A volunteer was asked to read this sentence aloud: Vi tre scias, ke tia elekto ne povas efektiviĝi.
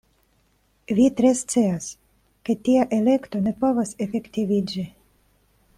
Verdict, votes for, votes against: accepted, 2, 0